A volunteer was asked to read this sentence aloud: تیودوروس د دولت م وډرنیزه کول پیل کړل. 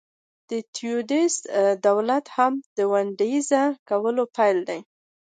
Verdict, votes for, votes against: accepted, 2, 0